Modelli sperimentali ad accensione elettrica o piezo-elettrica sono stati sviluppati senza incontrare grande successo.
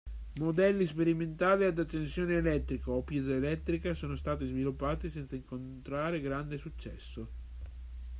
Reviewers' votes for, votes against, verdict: 2, 0, accepted